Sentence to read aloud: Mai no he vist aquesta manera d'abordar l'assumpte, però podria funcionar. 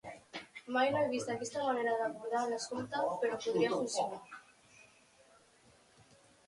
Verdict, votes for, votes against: rejected, 1, 2